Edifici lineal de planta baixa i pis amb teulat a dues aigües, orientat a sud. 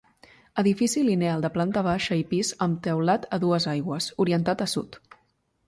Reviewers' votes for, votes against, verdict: 2, 0, accepted